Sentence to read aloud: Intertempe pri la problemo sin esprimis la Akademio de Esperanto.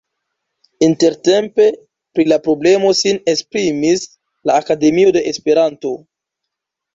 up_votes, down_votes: 2, 1